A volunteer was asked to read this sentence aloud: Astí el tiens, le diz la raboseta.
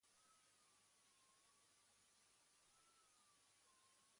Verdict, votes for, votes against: rejected, 1, 2